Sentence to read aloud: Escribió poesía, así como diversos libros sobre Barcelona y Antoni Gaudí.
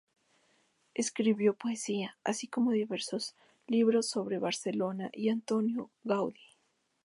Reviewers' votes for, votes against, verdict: 0, 2, rejected